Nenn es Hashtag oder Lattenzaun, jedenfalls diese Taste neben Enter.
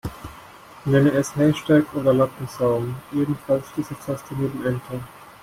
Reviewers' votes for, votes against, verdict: 2, 0, accepted